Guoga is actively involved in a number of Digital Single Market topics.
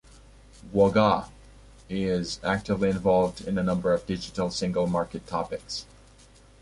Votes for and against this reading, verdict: 2, 1, accepted